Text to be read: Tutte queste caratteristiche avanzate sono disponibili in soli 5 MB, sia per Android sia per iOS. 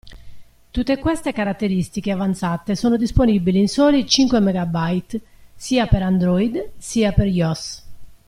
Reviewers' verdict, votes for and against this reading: rejected, 0, 2